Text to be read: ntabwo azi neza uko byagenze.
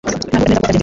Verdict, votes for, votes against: rejected, 1, 2